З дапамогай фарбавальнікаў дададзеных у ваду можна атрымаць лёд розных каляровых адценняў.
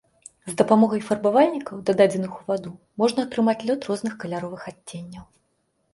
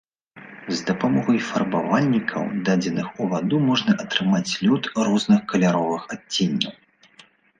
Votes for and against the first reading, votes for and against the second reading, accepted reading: 2, 0, 1, 2, first